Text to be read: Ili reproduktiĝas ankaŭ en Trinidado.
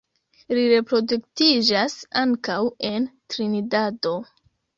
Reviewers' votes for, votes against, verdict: 2, 1, accepted